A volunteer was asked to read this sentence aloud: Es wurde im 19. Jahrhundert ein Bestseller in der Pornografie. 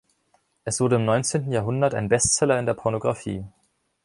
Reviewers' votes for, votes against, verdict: 0, 2, rejected